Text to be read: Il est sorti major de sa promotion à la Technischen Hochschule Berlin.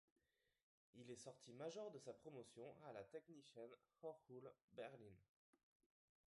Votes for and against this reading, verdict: 0, 2, rejected